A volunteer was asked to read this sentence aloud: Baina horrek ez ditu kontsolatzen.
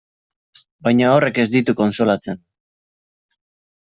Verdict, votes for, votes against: accepted, 2, 0